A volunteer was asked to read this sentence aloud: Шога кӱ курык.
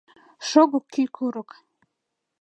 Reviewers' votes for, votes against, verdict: 0, 2, rejected